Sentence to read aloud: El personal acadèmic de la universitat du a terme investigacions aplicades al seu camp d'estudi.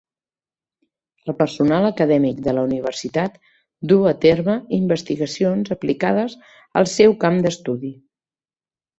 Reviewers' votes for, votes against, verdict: 2, 0, accepted